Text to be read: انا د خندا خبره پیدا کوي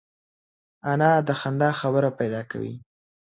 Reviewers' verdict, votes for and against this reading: accepted, 2, 0